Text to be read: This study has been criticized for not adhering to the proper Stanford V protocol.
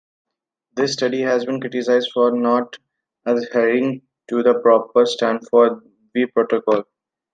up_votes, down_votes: 2, 1